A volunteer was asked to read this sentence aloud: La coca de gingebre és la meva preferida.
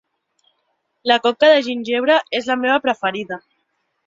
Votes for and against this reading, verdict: 2, 1, accepted